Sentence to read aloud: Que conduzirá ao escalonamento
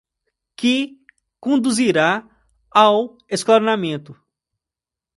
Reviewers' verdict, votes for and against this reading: rejected, 1, 2